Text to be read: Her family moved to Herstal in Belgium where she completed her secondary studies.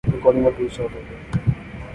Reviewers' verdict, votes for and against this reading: rejected, 0, 2